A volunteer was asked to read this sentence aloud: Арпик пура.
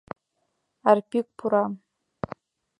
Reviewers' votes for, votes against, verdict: 2, 0, accepted